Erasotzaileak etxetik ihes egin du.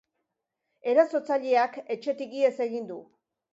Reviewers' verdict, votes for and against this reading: accepted, 2, 0